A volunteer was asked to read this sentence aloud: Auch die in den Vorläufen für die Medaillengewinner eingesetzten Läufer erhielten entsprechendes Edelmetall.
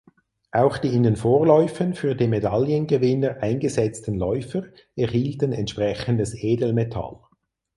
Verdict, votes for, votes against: accepted, 6, 0